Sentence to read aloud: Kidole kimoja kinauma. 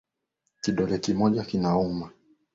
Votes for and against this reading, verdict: 10, 0, accepted